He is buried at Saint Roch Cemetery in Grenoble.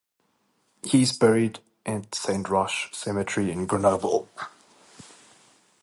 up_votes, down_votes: 2, 0